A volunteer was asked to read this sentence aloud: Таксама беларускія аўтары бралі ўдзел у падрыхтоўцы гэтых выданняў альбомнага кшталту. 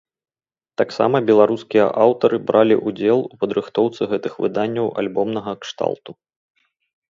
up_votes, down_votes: 0, 2